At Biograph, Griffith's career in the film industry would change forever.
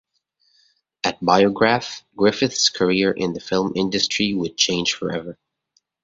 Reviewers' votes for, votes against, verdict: 2, 0, accepted